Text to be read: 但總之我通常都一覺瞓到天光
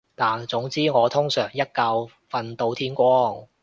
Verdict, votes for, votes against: rejected, 2, 2